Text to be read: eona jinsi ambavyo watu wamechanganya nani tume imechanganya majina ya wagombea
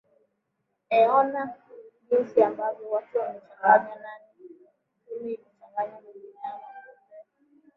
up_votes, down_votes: 0, 2